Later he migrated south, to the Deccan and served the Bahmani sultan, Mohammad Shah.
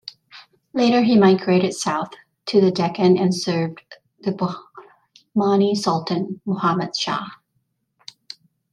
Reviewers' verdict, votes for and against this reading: rejected, 0, 2